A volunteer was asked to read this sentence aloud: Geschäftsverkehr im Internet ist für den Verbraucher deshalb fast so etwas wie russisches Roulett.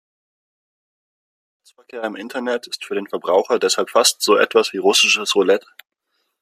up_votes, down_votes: 0, 2